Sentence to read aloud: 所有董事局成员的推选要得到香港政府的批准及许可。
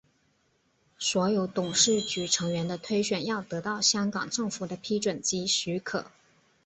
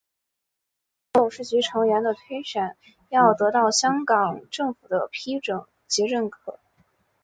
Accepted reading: first